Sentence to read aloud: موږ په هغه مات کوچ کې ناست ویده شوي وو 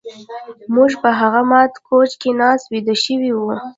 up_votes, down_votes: 1, 2